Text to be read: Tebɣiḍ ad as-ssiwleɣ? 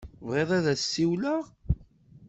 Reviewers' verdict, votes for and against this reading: accepted, 2, 0